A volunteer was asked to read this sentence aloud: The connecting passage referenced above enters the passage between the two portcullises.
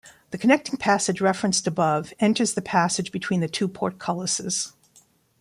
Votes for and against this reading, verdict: 2, 0, accepted